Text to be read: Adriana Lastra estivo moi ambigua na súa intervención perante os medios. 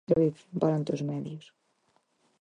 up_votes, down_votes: 0, 4